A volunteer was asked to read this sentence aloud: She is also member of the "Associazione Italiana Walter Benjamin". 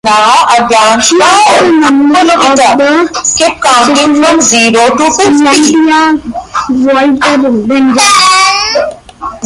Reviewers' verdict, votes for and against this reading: rejected, 0, 2